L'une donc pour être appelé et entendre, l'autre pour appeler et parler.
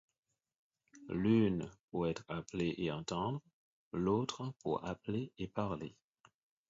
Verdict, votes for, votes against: rejected, 2, 4